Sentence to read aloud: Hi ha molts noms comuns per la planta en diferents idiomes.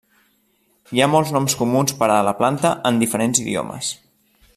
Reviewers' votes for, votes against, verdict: 1, 2, rejected